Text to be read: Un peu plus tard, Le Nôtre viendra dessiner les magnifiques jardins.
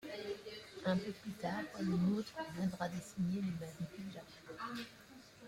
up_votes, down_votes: 0, 3